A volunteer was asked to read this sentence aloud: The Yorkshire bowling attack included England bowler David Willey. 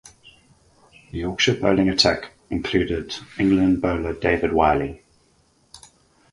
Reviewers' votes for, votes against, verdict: 4, 0, accepted